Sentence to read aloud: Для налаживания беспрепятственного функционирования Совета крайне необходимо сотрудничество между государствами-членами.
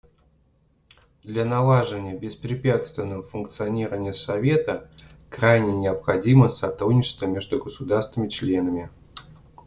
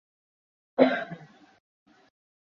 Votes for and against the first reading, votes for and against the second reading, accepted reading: 2, 0, 0, 2, first